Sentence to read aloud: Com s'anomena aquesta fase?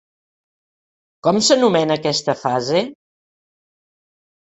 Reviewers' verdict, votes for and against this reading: accepted, 4, 0